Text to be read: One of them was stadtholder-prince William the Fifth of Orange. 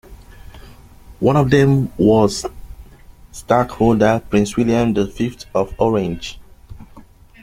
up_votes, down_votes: 2, 0